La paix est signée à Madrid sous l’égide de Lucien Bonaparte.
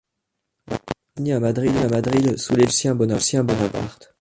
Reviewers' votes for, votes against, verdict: 0, 2, rejected